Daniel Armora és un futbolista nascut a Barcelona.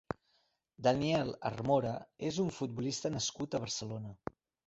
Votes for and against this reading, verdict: 2, 0, accepted